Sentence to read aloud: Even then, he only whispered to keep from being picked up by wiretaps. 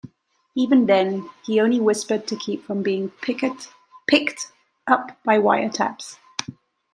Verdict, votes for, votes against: rejected, 0, 2